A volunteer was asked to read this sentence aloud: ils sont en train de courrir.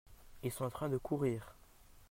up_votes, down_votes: 2, 1